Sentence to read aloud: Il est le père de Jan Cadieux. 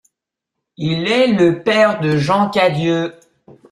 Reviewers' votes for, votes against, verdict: 2, 0, accepted